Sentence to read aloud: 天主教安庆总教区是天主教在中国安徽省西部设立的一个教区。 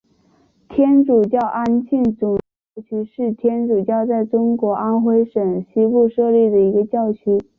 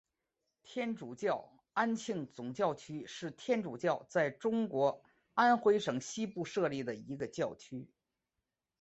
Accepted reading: second